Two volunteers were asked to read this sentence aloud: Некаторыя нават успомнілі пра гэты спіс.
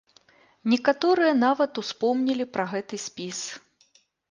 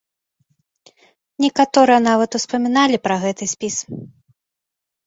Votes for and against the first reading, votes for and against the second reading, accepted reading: 2, 0, 0, 2, first